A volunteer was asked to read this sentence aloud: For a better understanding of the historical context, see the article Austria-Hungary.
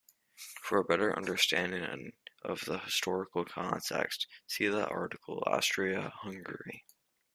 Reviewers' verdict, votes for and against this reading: accepted, 2, 0